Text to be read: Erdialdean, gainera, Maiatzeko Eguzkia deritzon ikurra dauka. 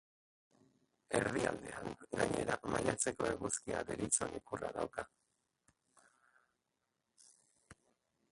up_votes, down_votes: 0, 2